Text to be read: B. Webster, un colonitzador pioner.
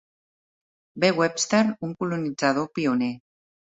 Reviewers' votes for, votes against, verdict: 2, 0, accepted